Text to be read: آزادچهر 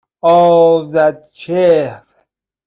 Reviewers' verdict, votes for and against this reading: rejected, 0, 2